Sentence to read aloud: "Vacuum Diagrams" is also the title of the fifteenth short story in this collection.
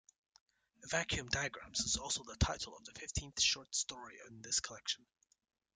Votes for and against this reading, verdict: 2, 1, accepted